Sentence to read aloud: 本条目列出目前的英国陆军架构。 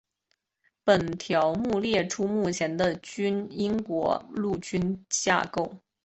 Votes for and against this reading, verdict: 0, 2, rejected